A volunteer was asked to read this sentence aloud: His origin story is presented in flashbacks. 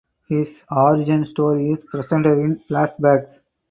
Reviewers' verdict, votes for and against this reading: accepted, 4, 0